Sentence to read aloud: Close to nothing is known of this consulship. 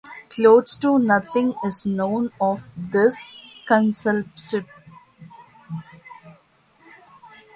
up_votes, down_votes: 0, 2